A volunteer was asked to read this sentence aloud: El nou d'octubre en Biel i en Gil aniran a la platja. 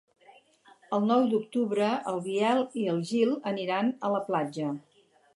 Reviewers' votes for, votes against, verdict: 0, 4, rejected